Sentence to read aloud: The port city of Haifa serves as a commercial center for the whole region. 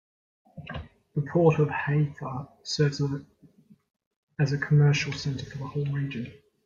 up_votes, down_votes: 0, 2